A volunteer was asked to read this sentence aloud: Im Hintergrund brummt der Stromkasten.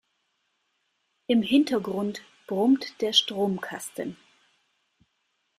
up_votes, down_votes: 2, 0